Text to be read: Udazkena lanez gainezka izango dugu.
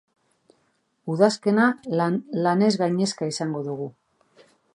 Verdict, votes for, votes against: accepted, 2, 0